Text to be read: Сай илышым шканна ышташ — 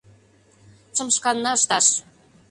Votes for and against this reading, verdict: 0, 2, rejected